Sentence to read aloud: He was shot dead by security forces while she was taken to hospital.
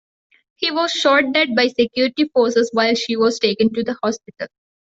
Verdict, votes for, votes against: rejected, 0, 2